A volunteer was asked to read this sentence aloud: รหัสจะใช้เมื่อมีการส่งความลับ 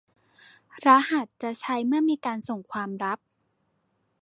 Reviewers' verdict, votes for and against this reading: accepted, 2, 0